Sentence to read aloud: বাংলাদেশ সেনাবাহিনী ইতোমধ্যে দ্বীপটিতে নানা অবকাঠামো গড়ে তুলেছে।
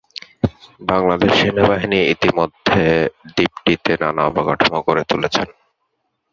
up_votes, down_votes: 0, 2